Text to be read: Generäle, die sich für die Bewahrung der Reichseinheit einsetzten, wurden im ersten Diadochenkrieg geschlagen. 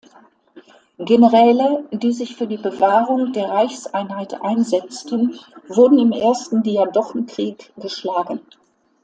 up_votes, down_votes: 2, 0